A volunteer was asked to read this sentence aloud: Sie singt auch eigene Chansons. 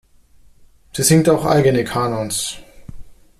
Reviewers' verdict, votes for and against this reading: rejected, 0, 2